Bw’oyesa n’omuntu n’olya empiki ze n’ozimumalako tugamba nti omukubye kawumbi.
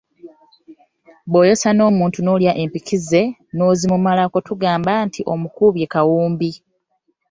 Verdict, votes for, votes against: rejected, 1, 2